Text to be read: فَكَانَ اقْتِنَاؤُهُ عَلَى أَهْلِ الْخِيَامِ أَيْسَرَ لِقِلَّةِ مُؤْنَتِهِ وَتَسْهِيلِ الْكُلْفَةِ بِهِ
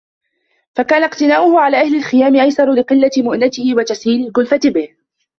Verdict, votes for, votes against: rejected, 1, 2